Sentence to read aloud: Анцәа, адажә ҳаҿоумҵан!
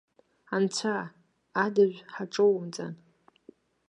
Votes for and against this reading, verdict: 2, 0, accepted